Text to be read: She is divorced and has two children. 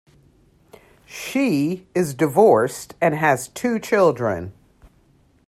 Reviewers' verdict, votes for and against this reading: rejected, 1, 2